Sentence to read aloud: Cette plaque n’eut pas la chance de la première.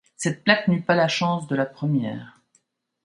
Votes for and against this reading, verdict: 2, 0, accepted